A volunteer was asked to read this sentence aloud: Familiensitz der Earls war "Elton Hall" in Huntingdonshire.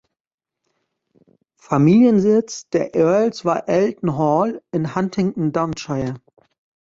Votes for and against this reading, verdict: 0, 2, rejected